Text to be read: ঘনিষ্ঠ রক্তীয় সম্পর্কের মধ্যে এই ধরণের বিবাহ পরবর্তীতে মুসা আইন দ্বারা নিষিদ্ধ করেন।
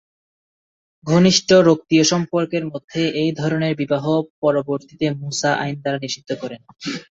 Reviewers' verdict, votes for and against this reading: rejected, 2, 2